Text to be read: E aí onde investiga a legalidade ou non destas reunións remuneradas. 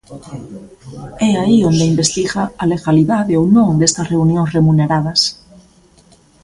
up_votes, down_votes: 2, 0